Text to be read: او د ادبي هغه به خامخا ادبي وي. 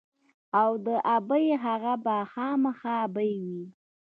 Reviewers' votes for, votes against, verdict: 0, 2, rejected